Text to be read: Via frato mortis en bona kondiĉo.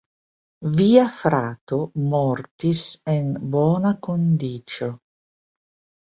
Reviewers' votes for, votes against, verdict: 2, 0, accepted